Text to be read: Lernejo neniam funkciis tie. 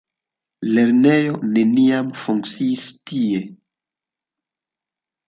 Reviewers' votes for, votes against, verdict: 2, 0, accepted